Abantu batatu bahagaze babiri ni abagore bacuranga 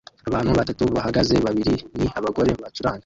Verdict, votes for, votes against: rejected, 1, 2